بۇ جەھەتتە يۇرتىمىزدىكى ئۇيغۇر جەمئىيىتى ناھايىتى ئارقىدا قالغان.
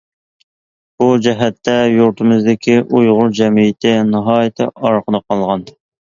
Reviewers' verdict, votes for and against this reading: accepted, 2, 0